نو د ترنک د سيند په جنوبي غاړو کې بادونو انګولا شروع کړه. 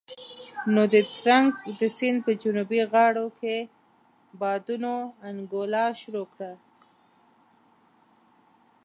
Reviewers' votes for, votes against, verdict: 2, 0, accepted